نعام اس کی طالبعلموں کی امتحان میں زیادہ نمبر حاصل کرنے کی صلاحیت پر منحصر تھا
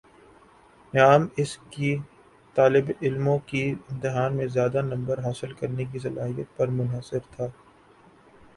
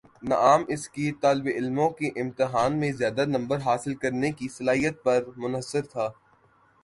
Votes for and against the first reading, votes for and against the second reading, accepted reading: 3, 3, 2, 0, second